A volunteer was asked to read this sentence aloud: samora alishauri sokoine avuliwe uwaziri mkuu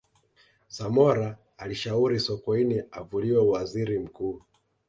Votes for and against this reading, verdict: 2, 0, accepted